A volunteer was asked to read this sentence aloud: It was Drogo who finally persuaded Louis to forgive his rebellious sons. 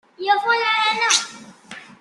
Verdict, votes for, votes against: rejected, 0, 2